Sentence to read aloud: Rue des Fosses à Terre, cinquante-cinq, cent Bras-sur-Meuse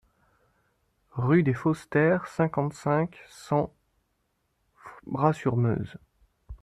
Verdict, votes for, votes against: rejected, 0, 2